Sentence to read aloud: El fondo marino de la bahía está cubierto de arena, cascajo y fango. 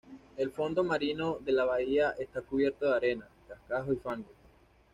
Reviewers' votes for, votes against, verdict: 2, 0, accepted